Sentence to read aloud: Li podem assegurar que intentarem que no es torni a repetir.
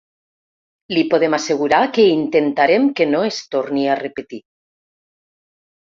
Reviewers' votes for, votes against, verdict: 3, 0, accepted